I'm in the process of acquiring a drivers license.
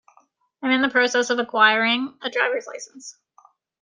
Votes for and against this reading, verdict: 0, 2, rejected